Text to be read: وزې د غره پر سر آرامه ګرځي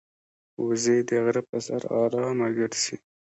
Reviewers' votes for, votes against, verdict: 2, 1, accepted